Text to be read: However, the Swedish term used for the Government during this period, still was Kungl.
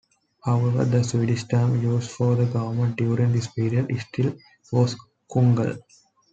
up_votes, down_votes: 1, 2